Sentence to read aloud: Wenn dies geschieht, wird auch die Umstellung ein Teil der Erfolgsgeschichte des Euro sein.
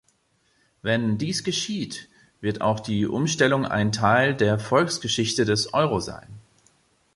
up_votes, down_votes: 1, 2